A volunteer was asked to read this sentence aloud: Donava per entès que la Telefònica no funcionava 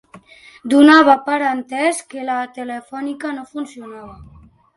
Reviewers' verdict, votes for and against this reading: accepted, 2, 0